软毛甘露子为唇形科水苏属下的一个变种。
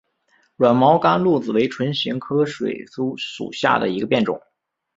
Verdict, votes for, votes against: accepted, 6, 0